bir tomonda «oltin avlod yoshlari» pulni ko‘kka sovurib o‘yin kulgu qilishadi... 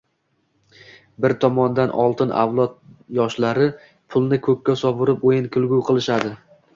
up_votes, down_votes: 0, 2